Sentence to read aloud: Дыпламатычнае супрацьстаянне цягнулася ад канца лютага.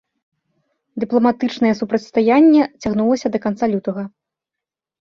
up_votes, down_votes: 3, 0